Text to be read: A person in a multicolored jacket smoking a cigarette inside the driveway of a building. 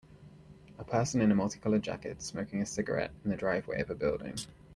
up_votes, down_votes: 0, 2